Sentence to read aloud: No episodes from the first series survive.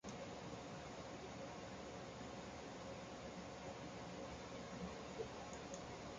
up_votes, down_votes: 0, 2